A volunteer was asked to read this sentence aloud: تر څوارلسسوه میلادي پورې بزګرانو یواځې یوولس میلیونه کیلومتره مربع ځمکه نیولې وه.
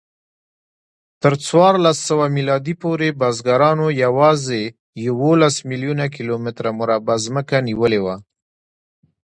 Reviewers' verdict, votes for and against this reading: accepted, 2, 1